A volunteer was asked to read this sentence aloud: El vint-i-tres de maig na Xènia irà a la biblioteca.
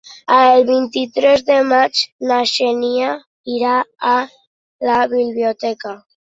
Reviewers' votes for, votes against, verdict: 2, 0, accepted